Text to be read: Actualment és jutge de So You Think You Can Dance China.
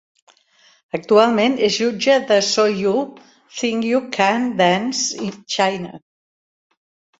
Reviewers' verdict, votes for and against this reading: rejected, 1, 2